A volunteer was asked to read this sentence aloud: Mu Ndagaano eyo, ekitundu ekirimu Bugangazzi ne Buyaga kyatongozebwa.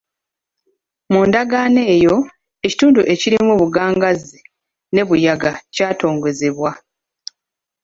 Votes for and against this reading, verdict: 2, 0, accepted